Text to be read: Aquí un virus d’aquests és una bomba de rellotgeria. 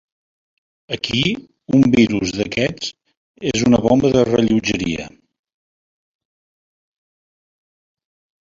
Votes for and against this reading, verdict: 3, 0, accepted